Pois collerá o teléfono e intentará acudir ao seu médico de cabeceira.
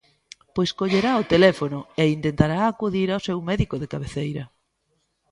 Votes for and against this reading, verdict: 2, 0, accepted